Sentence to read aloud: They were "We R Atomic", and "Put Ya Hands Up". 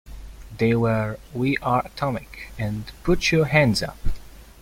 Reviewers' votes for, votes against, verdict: 2, 0, accepted